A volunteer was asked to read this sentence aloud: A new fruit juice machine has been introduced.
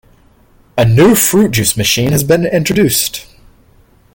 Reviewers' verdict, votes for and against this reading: accepted, 2, 1